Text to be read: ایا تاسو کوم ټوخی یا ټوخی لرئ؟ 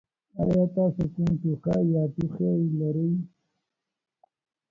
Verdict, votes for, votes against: rejected, 1, 2